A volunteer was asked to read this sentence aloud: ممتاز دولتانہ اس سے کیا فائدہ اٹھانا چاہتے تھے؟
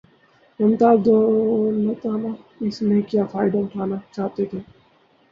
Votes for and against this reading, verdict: 2, 0, accepted